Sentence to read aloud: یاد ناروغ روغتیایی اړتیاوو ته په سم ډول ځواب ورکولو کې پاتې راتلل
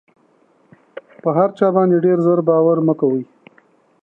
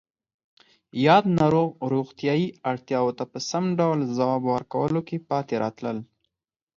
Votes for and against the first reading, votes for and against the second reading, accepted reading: 0, 2, 4, 0, second